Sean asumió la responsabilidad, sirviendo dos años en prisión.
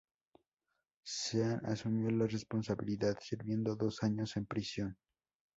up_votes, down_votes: 2, 0